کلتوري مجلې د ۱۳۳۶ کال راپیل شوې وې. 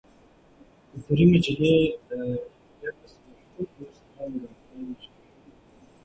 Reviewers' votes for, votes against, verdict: 0, 2, rejected